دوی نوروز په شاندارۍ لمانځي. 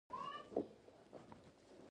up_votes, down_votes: 1, 2